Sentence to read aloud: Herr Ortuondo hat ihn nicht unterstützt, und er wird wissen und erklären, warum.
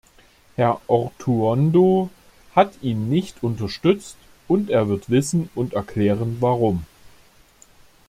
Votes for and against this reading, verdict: 2, 0, accepted